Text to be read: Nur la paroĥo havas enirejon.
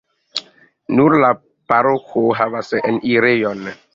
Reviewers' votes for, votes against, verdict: 1, 2, rejected